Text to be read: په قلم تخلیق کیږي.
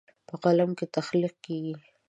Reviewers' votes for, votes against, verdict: 2, 0, accepted